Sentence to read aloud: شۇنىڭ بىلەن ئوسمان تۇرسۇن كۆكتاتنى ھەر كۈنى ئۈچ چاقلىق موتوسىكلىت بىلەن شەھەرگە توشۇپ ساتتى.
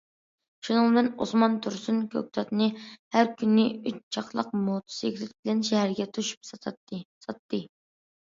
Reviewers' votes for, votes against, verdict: 0, 2, rejected